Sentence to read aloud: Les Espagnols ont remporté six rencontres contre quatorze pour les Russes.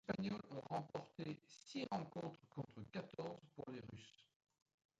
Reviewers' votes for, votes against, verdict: 1, 2, rejected